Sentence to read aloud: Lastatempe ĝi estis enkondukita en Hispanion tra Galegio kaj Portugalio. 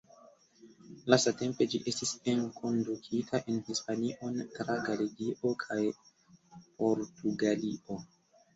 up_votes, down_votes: 2, 1